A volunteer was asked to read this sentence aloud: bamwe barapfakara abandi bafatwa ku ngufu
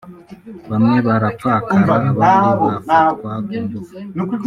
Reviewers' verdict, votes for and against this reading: rejected, 0, 2